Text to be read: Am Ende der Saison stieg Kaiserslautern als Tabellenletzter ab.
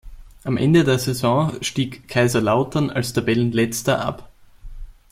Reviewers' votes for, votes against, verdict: 0, 2, rejected